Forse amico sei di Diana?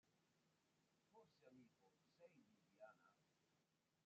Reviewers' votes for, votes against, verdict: 0, 3, rejected